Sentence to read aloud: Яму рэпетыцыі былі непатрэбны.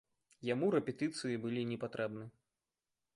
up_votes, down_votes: 2, 0